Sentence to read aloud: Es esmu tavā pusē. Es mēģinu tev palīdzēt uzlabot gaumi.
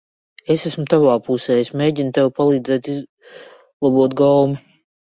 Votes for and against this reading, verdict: 0, 2, rejected